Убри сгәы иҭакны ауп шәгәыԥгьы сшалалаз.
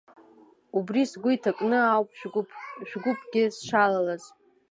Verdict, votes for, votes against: accepted, 2, 0